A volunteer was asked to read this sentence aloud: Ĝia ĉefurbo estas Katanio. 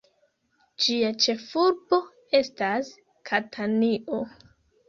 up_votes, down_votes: 2, 1